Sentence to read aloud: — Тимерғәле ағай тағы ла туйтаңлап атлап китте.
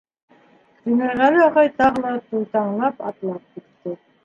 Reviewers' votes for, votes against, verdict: 1, 2, rejected